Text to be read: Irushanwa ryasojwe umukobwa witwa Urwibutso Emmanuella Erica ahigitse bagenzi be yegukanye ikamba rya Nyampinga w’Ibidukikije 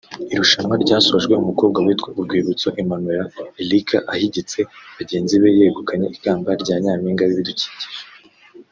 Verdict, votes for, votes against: rejected, 1, 2